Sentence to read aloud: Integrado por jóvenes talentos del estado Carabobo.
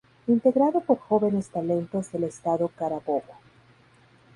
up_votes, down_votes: 2, 2